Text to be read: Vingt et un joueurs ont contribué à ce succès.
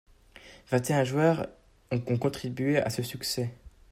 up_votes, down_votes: 0, 2